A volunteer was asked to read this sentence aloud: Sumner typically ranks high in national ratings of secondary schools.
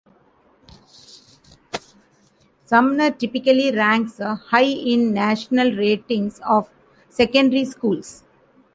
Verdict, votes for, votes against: accepted, 2, 1